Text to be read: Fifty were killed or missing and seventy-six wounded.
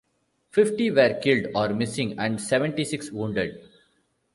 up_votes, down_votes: 2, 0